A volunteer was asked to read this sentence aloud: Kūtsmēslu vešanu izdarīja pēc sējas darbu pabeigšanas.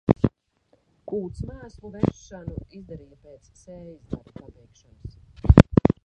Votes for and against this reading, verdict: 0, 2, rejected